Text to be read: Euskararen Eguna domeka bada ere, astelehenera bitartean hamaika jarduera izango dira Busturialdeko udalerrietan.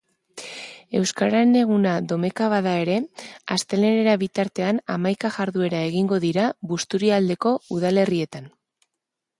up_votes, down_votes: 1, 3